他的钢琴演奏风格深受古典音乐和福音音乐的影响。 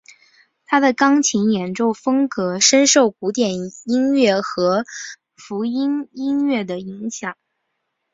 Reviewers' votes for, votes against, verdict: 4, 0, accepted